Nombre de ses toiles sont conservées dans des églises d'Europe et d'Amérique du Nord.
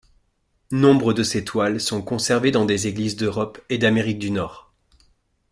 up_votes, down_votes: 2, 0